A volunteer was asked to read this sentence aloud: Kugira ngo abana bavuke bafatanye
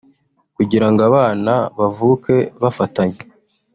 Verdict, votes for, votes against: rejected, 0, 2